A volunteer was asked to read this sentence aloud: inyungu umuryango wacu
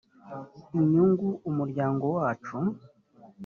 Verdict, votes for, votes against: accepted, 3, 0